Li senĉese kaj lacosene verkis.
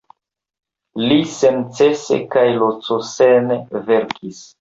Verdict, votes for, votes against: accepted, 2, 0